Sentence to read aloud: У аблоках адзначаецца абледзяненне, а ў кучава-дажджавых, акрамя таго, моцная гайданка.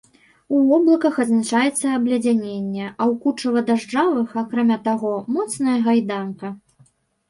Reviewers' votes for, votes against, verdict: 1, 2, rejected